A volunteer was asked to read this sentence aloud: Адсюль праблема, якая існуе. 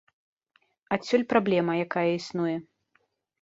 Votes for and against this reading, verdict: 1, 2, rejected